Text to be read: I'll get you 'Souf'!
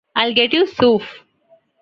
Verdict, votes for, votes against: accepted, 2, 0